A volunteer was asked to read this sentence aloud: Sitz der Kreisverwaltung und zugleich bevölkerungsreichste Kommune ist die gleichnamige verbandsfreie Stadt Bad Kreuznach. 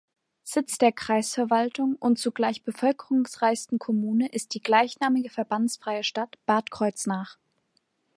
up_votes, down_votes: 0, 2